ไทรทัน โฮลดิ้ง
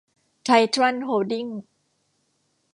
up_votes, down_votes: 1, 2